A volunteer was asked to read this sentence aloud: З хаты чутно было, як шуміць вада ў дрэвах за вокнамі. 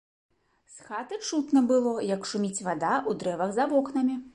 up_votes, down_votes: 2, 1